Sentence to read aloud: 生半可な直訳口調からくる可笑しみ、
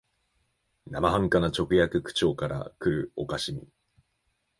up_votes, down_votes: 2, 0